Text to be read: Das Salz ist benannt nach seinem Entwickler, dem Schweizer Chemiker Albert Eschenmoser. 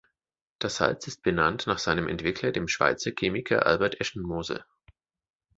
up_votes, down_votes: 2, 1